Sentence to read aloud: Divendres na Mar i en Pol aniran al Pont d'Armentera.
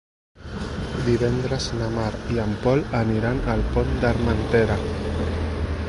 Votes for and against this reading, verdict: 0, 2, rejected